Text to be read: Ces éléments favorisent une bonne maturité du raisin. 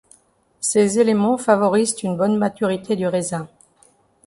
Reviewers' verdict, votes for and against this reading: accepted, 2, 0